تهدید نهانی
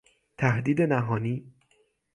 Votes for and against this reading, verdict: 9, 0, accepted